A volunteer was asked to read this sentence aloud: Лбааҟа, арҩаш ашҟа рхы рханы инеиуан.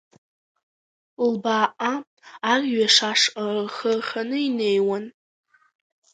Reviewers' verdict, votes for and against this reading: accepted, 2, 1